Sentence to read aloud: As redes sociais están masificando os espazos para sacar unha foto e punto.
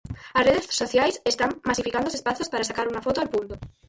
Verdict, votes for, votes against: rejected, 2, 4